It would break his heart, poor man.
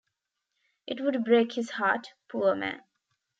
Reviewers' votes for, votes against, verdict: 2, 1, accepted